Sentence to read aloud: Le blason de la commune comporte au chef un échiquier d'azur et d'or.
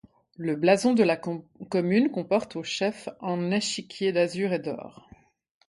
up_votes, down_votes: 2, 1